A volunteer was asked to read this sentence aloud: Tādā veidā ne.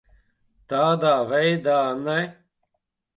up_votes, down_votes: 2, 0